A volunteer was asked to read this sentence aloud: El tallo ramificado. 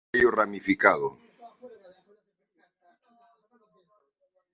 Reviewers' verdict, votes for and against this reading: rejected, 1, 2